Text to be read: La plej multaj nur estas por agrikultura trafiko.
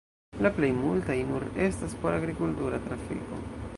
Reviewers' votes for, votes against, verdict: 2, 1, accepted